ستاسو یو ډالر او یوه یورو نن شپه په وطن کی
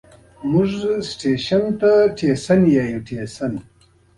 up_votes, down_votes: 0, 2